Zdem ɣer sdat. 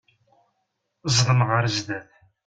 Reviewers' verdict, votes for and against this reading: accepted, 2, 0